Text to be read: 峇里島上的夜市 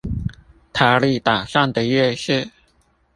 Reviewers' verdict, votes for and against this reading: rejected, 0, 2